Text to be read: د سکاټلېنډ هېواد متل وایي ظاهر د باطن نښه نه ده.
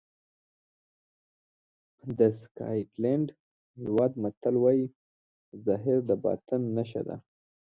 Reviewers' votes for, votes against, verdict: 1, 2, rejected